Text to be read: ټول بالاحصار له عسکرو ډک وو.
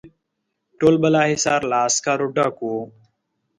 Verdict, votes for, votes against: accepted, 2, 0